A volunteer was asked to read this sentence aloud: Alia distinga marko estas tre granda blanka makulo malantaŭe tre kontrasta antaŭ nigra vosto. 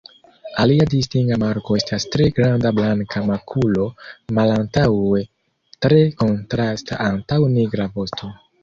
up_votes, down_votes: 1, 2